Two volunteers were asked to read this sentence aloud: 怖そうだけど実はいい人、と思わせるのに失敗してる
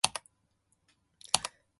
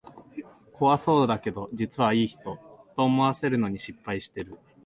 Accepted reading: second